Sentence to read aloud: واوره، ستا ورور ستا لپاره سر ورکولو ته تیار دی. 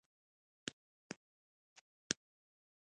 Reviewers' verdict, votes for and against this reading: accepted, 2, 0